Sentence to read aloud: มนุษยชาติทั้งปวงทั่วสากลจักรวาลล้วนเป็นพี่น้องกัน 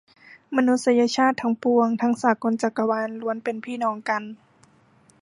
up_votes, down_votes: 1, 2